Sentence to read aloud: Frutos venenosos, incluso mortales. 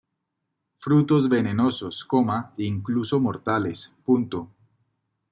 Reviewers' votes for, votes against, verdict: 1, 2, rejected